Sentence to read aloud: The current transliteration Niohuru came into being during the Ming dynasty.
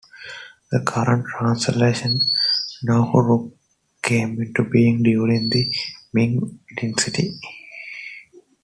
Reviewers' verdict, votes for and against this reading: accepted, 2, 0